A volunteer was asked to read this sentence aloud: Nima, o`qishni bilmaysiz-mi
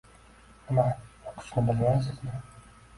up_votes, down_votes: 1, 2